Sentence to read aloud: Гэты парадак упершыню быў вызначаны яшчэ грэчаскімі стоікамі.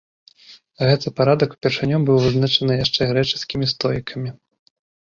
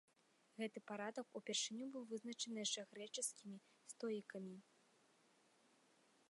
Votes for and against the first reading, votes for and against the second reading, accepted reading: 2, 0, 0, 2, first